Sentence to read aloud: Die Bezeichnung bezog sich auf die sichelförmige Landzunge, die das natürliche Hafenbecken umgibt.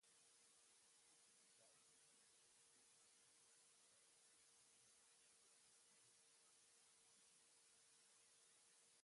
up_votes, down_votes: 0, 2